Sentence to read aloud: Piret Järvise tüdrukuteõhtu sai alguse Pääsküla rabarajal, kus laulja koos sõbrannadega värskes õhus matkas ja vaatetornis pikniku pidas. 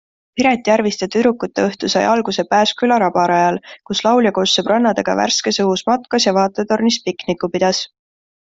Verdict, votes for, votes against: accepted, 3, 0